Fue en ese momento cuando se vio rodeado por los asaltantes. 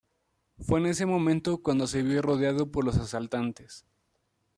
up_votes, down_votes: 2, 0